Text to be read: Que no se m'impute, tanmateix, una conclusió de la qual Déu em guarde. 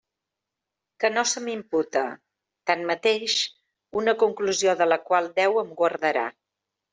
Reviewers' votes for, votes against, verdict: 0, 2, rejected